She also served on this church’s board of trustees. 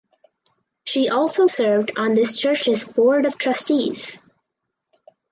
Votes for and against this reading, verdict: 2, 2, rejected